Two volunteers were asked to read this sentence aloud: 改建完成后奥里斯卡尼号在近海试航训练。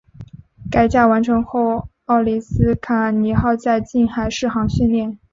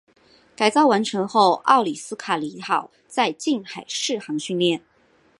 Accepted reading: first